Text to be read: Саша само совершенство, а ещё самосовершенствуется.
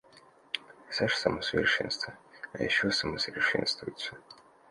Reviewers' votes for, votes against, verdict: 2, 0, accepted